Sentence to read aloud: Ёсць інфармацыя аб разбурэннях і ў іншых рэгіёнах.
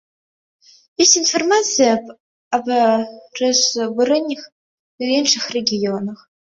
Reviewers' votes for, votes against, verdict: 0, 2, rejected